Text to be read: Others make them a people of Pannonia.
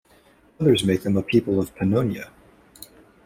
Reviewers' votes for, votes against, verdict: 2, 0, accepted